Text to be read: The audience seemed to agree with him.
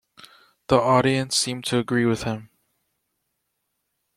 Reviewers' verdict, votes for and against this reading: accepted, 2, 0